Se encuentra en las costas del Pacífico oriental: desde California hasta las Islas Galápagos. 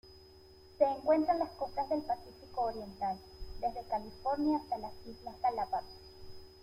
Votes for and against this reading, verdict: 2, 0, accepted